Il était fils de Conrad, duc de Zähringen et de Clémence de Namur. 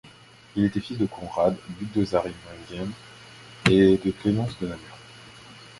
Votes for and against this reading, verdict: 0, 2, rejected